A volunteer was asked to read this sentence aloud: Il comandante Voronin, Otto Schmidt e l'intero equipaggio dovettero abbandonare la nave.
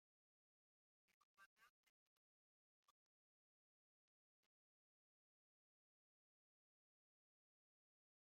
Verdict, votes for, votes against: rejected, 0, 2